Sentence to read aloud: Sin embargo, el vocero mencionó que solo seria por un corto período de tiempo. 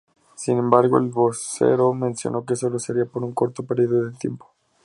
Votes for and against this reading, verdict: 2, 0, accepted